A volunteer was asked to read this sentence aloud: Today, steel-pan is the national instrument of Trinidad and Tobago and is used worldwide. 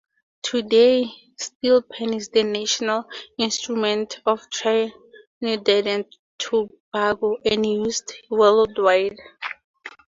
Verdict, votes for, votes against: rejected, 2, 2